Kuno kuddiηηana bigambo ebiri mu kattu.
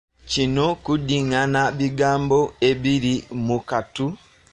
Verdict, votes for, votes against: rejected, 1, 2